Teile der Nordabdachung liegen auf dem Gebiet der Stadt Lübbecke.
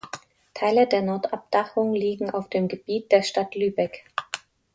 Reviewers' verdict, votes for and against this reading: rejected, 0, 2